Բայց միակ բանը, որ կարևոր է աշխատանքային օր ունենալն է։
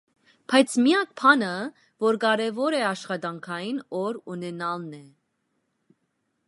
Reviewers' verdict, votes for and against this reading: accepted, 2, 0